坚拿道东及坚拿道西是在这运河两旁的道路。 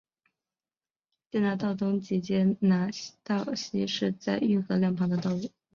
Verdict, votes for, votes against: rejected, 2, 3